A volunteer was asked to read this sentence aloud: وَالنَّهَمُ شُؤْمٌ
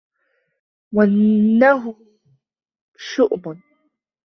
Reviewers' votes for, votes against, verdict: 0, 2, rejected